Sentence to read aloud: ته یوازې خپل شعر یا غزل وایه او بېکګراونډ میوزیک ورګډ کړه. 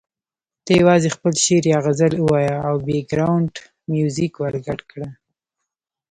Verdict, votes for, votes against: rejected, 1, 2